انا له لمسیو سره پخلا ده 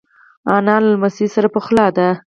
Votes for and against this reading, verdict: 2, 4, rejected